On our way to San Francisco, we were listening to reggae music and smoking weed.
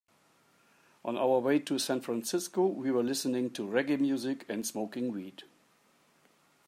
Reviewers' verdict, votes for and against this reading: accepted, 2, 0